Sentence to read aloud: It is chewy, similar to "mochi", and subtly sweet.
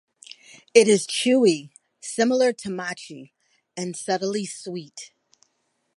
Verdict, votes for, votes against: accepted, 2, 0